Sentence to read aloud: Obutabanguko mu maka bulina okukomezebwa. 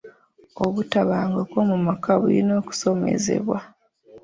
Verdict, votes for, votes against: rejected, 1, 2